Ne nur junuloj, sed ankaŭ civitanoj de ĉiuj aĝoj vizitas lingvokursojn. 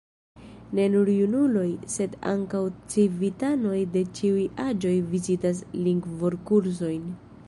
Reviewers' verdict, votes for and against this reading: accepted, 2, 0